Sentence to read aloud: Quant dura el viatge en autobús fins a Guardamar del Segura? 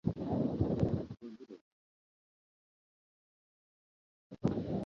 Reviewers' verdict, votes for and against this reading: rejected, 0, 2